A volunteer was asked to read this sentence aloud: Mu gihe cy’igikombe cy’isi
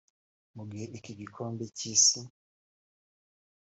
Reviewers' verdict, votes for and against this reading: rejected, 3, 4